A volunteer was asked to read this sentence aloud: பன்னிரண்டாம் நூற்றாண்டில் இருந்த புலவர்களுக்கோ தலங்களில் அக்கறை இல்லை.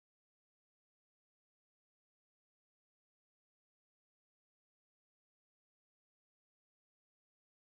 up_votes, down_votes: 1, 2